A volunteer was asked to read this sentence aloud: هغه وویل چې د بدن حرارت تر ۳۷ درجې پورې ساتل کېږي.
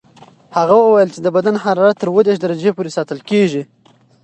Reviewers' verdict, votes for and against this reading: rejected, 0, 2